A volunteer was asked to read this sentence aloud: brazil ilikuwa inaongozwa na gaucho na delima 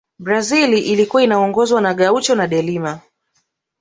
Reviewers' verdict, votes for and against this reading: rejected, 0, 2